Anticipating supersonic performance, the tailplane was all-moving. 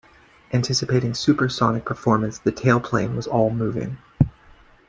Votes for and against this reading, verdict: 2, 0, accepted